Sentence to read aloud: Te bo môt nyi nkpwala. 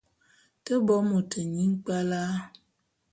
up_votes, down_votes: 2, 0